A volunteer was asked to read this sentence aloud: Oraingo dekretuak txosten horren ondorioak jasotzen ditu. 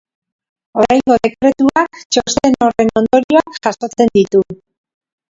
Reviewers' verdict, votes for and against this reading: rejected, 1, 2